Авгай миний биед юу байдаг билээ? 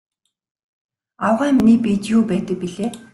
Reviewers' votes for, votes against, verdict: 2, 1, accepted